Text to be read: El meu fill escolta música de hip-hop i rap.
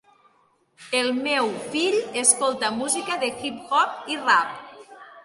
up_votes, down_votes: 3, 1